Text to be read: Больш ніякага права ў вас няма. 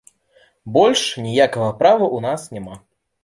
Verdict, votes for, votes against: rejected, 0, 2